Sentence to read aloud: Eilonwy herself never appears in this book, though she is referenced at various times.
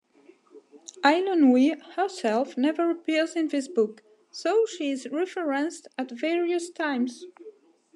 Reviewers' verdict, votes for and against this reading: rejected, 1, 2